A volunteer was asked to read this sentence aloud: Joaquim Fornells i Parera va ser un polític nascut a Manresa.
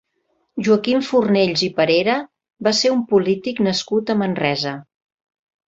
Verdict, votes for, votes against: accepted, 3, 0